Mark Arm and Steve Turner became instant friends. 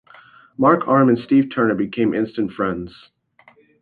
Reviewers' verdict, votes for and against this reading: accepted, 2, 0